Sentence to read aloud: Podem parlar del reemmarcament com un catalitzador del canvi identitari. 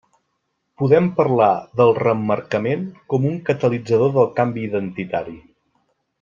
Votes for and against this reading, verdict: 2, 0, accepted